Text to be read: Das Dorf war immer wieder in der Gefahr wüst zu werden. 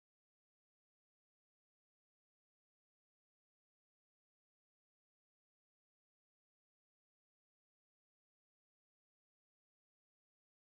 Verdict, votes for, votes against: rejected, 0, 2